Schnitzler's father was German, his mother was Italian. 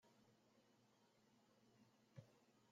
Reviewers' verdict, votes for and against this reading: rejected, 0, 2